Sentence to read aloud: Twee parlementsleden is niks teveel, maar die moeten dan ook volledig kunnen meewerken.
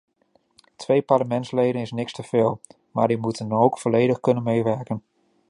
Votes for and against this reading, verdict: 0, 2, rejected